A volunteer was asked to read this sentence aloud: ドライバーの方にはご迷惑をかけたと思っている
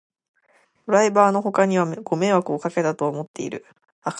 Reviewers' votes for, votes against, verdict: 0, 2, rejected